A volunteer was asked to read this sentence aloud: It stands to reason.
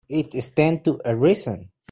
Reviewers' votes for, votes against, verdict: 1, 2, rejected